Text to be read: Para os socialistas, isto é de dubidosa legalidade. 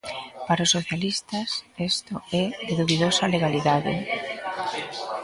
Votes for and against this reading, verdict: 2, 1, accepted